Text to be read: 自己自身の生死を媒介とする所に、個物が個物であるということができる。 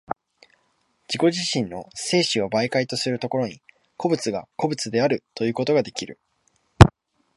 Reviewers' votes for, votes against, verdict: 2, 0, accepted